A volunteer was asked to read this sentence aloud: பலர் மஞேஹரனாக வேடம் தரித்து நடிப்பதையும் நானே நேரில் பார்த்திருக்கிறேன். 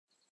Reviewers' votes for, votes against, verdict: 0, 2, rejected